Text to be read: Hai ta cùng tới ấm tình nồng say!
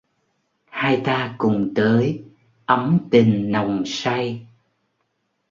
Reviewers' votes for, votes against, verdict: 2, 0, accepted